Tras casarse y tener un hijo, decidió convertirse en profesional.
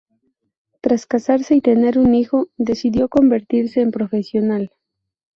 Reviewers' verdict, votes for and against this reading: accepted, 2, 0